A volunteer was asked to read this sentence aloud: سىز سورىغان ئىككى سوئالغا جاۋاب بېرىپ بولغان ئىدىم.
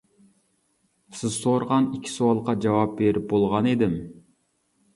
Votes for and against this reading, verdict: 2, 0, accepted